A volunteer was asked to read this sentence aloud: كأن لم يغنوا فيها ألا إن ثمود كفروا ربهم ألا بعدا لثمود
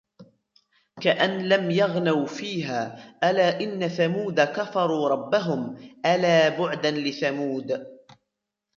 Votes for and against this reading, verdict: 1, 2, rejected